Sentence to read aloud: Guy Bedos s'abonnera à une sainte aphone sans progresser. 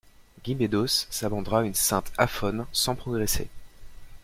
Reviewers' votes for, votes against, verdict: 1, 2, rejected